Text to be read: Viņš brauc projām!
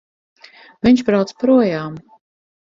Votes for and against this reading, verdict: 4, 0, accepted